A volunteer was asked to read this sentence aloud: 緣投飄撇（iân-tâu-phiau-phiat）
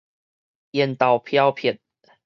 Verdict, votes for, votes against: rejected, 2, 2